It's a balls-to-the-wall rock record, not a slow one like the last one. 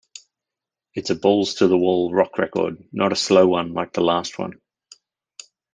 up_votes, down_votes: 2, 0